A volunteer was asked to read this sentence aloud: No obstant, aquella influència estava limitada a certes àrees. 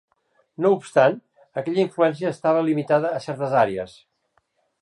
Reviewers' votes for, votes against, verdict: 3, 1, accepted